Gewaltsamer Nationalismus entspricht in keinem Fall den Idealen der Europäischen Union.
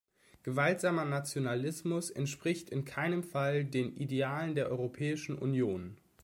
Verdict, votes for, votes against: accepted, 2, 0